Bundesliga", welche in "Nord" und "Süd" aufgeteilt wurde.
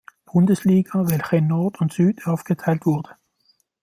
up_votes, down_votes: 1, 2